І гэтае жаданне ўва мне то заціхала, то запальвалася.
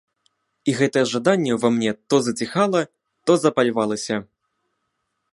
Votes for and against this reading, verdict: 1, 2, rejected